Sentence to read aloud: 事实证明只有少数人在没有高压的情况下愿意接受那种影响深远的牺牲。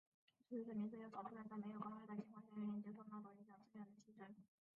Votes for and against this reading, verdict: 1, 2, rejected